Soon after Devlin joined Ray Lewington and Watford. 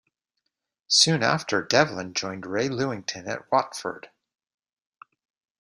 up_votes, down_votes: 2, 0